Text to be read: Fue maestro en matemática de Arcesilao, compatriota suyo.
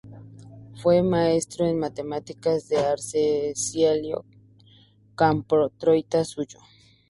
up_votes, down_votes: 0, 2